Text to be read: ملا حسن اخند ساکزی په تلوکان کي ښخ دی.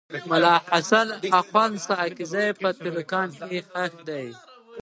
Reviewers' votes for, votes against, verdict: 0, 2, rejected